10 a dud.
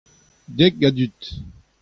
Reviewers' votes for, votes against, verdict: 0, 2, rejected